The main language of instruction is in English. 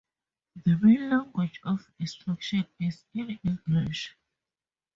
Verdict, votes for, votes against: accepted, 2, 0